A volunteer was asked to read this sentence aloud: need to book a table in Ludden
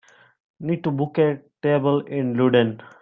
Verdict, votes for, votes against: accepted, 2, 0